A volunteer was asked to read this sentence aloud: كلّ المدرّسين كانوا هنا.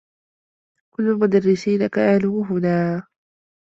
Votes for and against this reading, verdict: 2, 0, accepted